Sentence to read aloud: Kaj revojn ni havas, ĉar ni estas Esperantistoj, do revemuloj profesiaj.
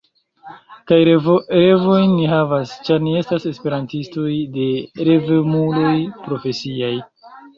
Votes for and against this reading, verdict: 1, 2, rejected